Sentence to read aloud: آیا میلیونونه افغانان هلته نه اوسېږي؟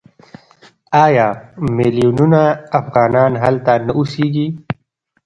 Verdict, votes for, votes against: rejected, 1, 2